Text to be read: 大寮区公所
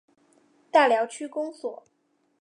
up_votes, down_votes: 5, 1